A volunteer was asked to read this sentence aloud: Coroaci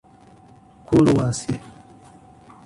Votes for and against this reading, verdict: 1, 2, rejected